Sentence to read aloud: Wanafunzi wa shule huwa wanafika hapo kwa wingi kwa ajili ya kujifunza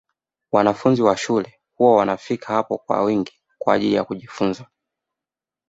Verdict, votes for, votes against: accepted, 2, 1